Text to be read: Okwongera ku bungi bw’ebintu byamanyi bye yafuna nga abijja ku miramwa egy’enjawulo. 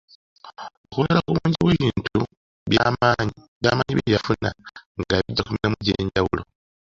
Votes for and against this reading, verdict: 1, 2, rejected